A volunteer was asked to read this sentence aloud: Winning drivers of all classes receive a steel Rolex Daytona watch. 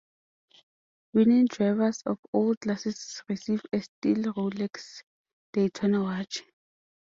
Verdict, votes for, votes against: accepted, 2, 0